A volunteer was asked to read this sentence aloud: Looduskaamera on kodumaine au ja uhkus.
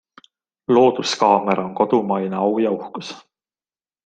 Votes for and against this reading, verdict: 2, 0, accepted